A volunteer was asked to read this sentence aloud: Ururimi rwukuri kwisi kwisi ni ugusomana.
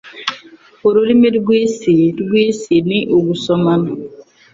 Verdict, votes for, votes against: rejected, 0, 2